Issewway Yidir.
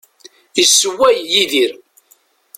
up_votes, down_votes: 2, 0